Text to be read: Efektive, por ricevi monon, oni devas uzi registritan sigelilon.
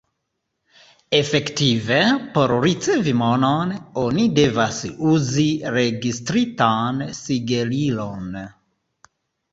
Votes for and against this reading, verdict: 2, 0, accepted